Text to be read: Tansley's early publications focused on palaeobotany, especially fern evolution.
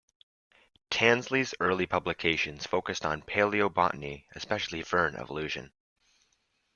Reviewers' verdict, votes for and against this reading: accepted, 2, 0